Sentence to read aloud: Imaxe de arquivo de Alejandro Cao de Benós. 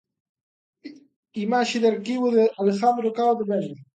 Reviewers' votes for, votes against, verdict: 1, 2, rejected